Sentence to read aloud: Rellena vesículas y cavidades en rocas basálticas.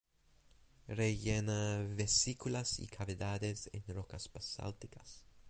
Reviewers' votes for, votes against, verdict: 2, 0, accepted